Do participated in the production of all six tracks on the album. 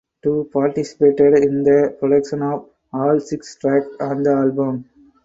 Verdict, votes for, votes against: rejected, 0, 4